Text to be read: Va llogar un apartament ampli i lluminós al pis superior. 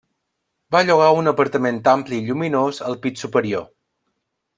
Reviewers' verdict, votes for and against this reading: accepted, 2, 0